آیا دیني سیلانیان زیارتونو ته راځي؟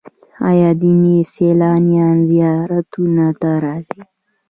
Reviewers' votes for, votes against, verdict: 2, 1, accepted